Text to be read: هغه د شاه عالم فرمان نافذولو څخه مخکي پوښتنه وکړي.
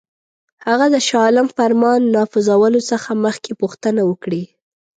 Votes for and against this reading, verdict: 2, 0, accepted